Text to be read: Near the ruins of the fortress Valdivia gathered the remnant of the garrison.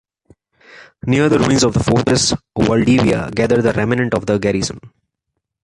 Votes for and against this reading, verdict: 2, 0, accepted